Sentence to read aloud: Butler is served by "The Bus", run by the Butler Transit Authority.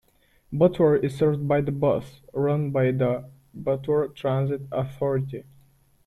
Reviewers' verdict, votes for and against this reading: rejected, 1, 2